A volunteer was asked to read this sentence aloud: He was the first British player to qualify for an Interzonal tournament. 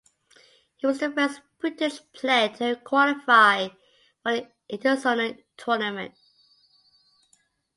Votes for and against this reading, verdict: 2, 0, accepted